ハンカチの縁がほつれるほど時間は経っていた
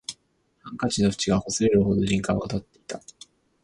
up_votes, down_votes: 2, 4